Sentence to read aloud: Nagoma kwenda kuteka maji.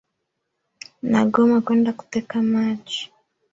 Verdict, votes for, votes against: accepted, 3, 1